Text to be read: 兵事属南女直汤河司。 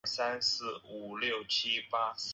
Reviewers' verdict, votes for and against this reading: rejected, 0, 6